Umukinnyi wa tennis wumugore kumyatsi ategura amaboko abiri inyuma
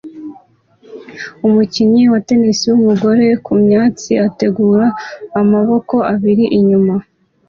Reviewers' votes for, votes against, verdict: 2, 0, accepted